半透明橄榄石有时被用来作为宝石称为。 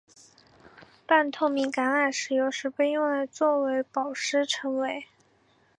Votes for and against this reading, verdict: 3, 0, accepted